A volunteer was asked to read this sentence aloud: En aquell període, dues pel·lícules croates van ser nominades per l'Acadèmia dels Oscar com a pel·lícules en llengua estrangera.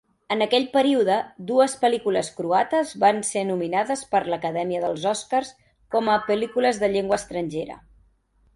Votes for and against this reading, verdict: 1, 2, rejected